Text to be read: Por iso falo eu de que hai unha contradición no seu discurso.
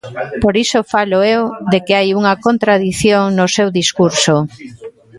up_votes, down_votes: 2, 0